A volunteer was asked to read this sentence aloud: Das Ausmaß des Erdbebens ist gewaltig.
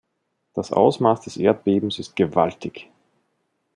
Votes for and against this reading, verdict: 2, 0, accepted